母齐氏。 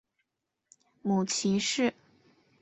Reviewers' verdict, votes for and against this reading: accepted, 5, 0